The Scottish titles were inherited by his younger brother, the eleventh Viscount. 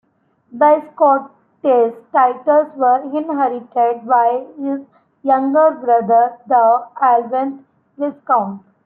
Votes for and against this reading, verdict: 2, 1, accepted